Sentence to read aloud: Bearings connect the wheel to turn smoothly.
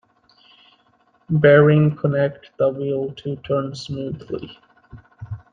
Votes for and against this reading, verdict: 2, 1, accepted